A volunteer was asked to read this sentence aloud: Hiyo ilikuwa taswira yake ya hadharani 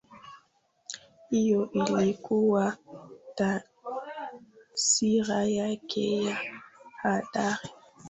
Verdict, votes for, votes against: rejected, 1, 2